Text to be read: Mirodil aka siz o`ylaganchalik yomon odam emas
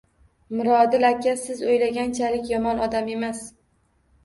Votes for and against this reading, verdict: 2, 0, accepted